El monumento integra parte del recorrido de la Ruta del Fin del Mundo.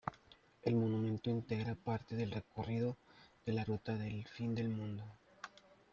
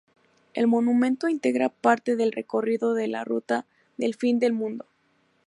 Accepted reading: second